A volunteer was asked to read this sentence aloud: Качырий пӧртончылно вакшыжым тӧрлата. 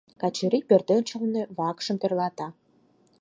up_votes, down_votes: 2, 4